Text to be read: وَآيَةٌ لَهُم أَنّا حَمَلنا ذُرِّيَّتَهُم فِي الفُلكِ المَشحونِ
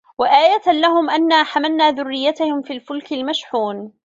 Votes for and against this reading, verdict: 1, 2, rejected